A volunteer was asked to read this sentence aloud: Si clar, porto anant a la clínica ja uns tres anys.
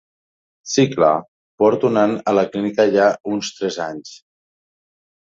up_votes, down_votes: 3, 0